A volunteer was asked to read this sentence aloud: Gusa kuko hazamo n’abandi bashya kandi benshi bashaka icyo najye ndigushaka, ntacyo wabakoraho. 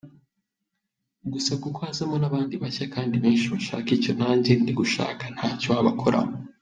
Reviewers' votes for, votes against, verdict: 2, 1, accepted